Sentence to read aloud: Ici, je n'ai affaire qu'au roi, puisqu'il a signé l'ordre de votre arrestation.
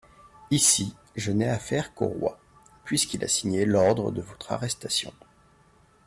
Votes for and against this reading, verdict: 2, 0, accepted